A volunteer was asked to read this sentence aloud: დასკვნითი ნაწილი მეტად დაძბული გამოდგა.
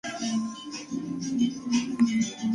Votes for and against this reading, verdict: 2, 1, accepted